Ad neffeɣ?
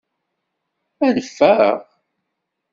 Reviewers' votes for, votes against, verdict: 2, 0, accepted